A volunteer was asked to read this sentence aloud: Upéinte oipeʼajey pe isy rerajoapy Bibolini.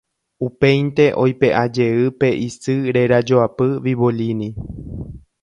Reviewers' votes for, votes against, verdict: 2, 0, accepted